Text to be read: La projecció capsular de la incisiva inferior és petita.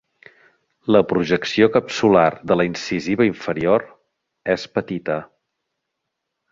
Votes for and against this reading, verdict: 3, 0, accepted